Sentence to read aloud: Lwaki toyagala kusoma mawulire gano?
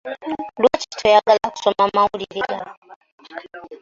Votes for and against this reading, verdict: 1, 2, rejected